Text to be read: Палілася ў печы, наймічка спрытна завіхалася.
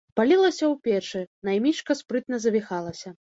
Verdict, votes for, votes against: accepted, 2, 0